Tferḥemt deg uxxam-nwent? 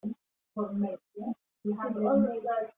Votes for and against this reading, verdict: 0, 2, rejected